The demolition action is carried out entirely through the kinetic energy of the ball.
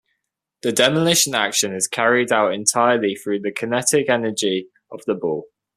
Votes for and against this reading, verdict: 2, 0, accepted